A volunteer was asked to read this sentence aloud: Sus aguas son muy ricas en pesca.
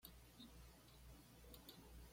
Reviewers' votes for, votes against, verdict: 0, 2, rejected